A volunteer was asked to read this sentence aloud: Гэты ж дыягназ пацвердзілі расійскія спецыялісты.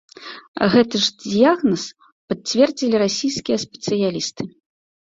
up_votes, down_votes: 1, 2